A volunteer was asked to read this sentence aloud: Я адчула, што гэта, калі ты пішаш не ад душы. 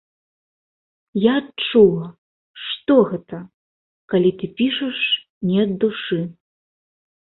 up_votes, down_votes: 2, 0